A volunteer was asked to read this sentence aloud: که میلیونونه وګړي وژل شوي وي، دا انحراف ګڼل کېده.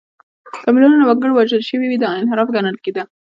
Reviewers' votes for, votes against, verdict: 0, 2, rejected